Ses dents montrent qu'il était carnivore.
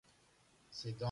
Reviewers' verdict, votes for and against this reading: rejected, 1, 2